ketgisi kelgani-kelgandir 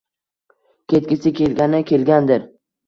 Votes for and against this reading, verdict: 1, 2, rejected